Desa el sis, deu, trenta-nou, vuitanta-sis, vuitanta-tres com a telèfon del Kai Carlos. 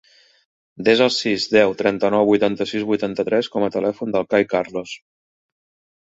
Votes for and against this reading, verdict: 2, 0, accepted